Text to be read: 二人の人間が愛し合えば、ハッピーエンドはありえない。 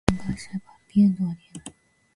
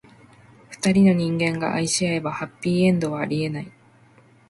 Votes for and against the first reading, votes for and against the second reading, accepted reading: 0, 2, 2, 0, second